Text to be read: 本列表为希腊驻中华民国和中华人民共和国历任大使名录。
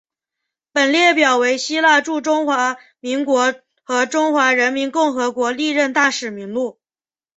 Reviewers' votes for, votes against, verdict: 4, 0, accepted